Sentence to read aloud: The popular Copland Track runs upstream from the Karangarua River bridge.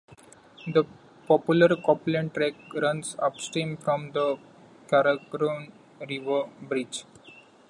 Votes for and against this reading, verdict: 0, 2, rejected